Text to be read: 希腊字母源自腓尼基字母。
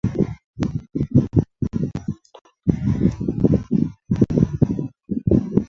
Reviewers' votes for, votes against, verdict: 0, 3, rejected